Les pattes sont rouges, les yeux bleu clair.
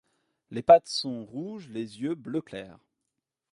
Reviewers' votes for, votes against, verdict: 2, 1, accepted